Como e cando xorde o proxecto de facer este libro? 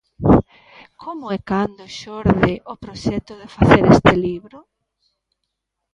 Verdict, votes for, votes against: rejected, 1, 2